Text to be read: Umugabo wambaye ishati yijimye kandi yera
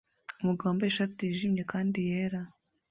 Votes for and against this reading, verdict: 2, 0, accepted